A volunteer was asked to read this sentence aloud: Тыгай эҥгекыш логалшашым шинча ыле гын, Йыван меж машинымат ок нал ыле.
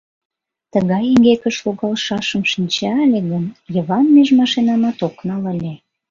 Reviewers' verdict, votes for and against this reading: rejected, 0, 2